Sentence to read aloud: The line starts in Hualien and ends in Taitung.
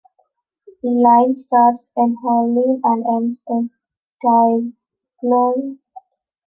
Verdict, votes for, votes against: rejected, 0, 2